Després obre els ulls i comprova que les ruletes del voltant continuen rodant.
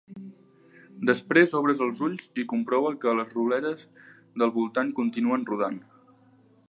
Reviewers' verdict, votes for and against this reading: rejected, 1, 3